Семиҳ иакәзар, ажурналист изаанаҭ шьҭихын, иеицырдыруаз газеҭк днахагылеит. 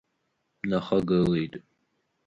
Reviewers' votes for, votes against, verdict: 1, 2, rejected